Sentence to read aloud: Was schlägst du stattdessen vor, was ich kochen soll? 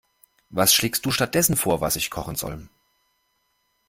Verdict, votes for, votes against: accepted, 2, 0